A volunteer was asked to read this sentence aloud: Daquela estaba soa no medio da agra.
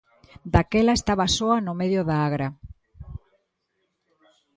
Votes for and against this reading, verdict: 2, 1, accepted